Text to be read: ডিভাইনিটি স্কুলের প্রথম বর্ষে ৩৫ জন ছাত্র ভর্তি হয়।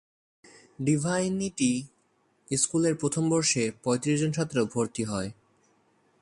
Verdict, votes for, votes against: rejected, 0, 2